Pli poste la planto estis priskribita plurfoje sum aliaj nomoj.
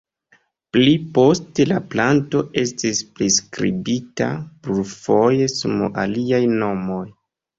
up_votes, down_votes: 2, 0